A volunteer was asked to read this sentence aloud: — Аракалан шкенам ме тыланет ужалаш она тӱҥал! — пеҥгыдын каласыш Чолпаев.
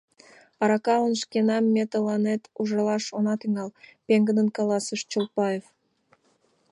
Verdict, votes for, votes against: accepted, 2, 0